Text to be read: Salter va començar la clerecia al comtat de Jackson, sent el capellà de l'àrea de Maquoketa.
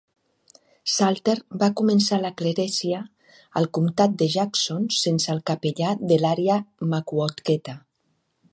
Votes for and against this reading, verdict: 0, 2, rejected